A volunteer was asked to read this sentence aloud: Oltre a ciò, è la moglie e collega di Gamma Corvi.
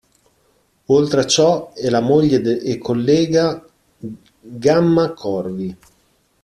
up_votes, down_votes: 0, 2